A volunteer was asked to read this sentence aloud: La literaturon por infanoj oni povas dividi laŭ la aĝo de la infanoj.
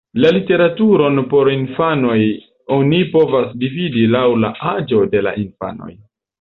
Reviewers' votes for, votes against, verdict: 2, 0, accepted